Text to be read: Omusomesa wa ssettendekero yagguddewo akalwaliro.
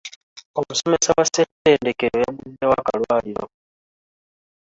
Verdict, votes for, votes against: rejected, 1, 2